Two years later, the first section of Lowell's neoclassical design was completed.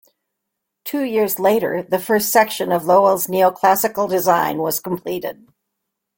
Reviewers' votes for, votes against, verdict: 2, 0, accepted